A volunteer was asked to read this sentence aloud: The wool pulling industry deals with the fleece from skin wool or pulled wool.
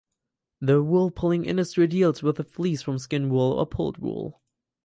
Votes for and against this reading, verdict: 4, 0, accepted